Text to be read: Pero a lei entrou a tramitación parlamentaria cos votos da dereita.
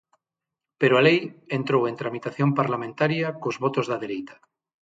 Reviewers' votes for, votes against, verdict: 3, 6, rejected